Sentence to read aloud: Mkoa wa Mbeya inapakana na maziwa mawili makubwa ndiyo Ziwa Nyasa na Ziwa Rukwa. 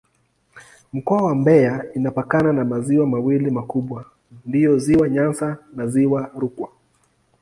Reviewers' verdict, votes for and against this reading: accepted, 2, 0